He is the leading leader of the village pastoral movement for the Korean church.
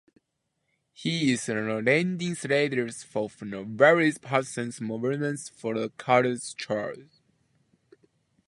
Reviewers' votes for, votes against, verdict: 0, 2, rejected